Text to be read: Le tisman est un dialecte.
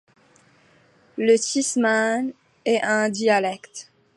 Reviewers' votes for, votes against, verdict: 2, 1, accepted